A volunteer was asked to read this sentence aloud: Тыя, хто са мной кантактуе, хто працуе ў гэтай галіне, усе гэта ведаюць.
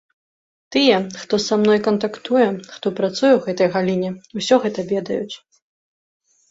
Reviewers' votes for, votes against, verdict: 0, 2, rejected